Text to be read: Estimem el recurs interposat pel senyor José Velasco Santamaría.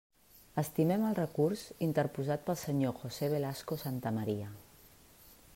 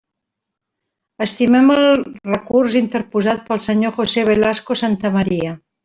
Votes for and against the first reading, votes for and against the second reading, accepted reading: 3, 0, 0, 2, first